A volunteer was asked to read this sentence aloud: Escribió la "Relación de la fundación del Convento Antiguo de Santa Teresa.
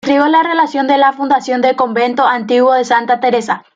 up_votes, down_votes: 1, 2